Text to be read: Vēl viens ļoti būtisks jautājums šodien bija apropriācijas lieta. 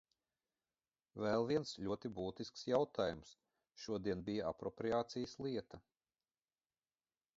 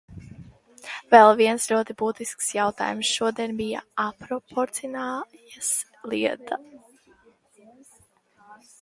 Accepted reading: first